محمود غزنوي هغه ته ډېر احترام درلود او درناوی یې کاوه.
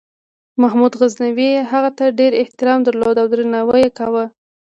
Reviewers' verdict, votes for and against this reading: rejected, 1, 2